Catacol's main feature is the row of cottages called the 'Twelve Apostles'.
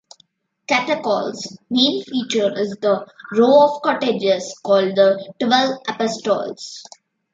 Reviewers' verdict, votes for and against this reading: accepted, 2, 0